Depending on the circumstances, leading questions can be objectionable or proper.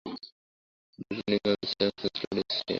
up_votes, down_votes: 2, 2